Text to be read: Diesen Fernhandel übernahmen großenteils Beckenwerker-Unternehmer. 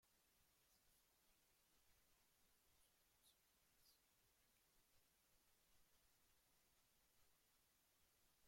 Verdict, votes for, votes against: rejected, 0, 2